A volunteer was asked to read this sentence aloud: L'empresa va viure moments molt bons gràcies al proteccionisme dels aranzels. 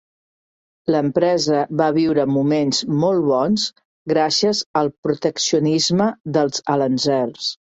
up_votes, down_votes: 1, 2